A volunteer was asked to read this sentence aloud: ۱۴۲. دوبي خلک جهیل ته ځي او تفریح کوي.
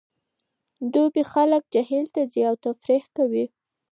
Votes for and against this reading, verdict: 0, 2, rejected